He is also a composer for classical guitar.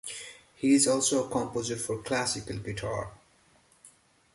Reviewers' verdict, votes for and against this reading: rejected, 1, 2